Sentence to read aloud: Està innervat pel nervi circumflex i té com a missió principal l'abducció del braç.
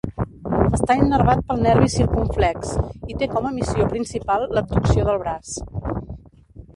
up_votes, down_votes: 1, 2